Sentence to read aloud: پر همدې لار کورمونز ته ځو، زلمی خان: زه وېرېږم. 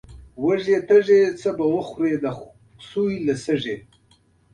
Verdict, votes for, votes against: rejected, 0, 2